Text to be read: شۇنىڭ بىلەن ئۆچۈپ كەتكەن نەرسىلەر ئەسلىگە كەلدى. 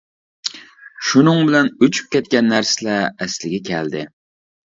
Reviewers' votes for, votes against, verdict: 2, 0, accepted